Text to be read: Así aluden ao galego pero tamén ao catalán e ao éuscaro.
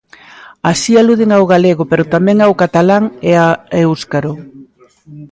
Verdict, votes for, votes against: rejected, 0, 2